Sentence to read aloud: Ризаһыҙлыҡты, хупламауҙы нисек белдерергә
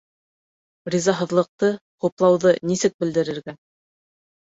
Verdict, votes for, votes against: rejected, 0, 2